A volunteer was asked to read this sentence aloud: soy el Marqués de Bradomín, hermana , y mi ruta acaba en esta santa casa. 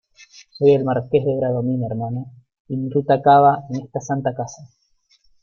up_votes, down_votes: 2, 0